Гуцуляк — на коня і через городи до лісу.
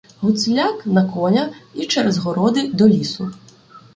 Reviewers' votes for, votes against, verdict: 2, 0, accepted